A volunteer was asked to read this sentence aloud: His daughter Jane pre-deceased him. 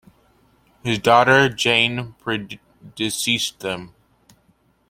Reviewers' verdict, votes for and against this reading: accepted, 2, 1